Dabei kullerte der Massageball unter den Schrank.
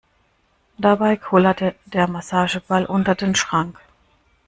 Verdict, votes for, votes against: accepted, 2, 0